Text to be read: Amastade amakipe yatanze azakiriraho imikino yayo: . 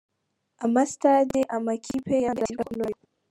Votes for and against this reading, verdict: 0, 2, rejected